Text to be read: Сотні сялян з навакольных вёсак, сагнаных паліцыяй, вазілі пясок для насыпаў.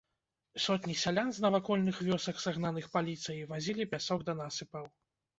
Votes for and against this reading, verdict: 1, 2, rejected